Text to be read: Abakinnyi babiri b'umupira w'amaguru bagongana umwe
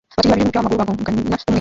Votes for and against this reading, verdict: 0, 2, rejected